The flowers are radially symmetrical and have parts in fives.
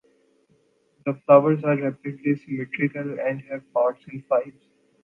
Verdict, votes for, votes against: rejected, 0, 2